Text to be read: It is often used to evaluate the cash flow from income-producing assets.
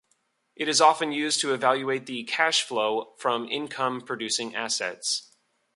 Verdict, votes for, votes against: accepted, 2, 0